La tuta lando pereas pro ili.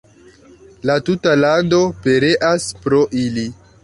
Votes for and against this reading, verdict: 1, 2, rejected